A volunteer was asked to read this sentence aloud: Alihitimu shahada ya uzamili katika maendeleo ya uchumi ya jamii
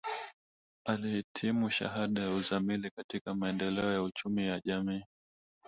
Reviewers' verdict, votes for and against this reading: rejected, 1, 2